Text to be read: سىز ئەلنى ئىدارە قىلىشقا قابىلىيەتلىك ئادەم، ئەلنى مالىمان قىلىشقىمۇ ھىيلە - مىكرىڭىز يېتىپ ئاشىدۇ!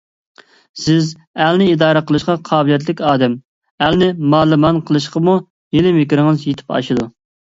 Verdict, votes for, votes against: accepted, 3, 0